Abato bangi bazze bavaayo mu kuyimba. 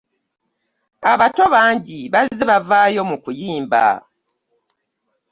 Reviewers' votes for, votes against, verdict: 2, 0, accepted